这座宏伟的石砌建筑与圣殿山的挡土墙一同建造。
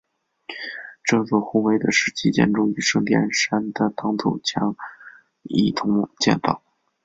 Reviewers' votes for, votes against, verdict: 2, 0, accepted